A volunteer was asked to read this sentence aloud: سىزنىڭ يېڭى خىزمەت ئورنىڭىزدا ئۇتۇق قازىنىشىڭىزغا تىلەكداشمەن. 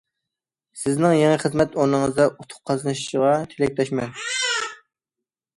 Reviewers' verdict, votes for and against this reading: rejected, 1, 2